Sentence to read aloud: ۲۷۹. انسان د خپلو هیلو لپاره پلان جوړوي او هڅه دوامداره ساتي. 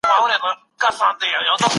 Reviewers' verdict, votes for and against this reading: rejected, 0, 2